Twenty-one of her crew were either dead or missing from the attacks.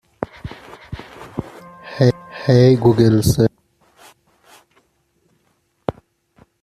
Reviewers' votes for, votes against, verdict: 0, 2, rejected